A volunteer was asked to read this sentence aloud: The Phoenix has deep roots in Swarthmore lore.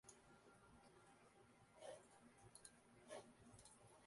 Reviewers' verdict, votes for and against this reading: rejected, 0, 2